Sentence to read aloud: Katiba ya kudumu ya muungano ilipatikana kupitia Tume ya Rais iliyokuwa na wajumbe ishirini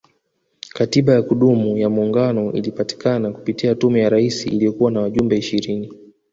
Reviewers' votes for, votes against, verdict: 2, 0, accepted